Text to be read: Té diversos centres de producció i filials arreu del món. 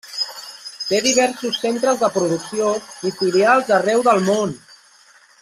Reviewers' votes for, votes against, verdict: 1, 2, rejected